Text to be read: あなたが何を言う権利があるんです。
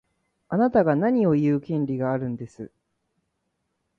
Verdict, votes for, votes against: rejected, 1, 2